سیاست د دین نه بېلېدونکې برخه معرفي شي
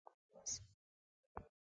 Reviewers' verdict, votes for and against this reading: rejected, 1, 2